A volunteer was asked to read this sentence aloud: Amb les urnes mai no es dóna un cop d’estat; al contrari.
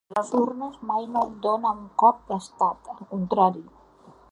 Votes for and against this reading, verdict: 0, 2, rejected